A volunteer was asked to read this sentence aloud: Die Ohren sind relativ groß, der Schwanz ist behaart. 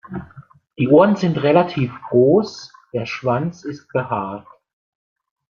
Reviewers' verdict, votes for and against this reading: accepted, 2, 0